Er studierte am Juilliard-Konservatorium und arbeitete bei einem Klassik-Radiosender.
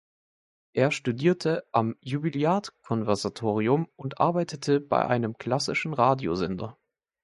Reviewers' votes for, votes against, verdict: 1, 2, rejected